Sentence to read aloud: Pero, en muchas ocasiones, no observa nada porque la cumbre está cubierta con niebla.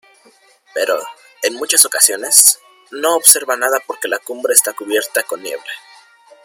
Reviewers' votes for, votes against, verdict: 1, 2, rejected